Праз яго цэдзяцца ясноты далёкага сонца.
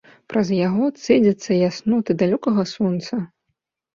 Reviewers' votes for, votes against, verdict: 2, 0, accepted